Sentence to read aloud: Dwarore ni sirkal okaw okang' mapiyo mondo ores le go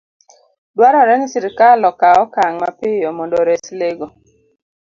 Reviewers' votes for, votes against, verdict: 2, 0, accepted